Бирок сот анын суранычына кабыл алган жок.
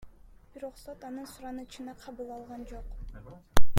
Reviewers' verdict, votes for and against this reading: rejected, 1, 2